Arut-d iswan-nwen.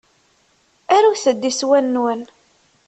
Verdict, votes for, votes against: accepted, 2, 0